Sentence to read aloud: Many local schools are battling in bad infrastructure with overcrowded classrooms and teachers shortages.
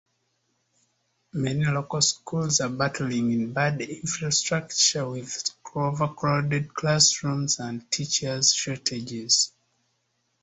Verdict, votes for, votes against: accepted, 2, 0